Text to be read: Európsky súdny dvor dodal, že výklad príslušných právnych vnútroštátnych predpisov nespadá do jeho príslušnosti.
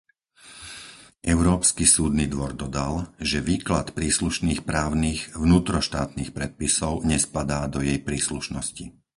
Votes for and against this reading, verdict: 2, 4, rejected